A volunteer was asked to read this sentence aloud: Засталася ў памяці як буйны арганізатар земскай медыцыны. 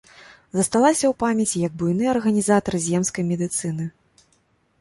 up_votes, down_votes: 2, 0